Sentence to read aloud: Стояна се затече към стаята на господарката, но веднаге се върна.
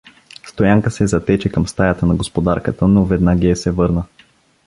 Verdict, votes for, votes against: rejected, 1, 2